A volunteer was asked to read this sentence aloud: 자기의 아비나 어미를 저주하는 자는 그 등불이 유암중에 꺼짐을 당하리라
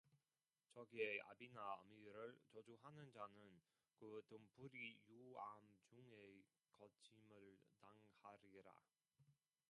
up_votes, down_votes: 0, 2